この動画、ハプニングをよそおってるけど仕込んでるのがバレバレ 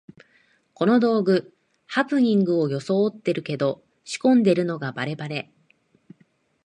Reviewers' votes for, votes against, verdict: 1, 2, rejected